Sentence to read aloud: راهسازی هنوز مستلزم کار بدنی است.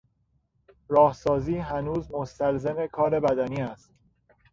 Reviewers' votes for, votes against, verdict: 3, 0, accepted